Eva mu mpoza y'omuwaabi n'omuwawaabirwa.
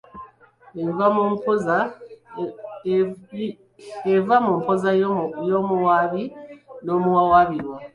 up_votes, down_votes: 1, 2